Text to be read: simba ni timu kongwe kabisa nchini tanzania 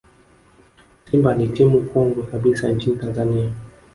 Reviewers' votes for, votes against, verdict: 0, 2, rejected